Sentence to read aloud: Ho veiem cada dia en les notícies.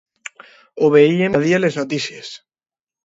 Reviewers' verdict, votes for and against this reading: rejected, 0, 2